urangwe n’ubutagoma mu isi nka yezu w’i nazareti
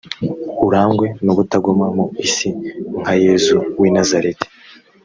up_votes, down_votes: 2, 0